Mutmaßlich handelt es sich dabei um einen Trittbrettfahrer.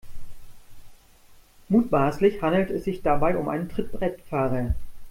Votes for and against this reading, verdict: 2, 1, accepted